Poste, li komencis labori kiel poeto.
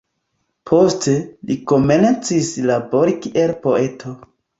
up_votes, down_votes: 1, 2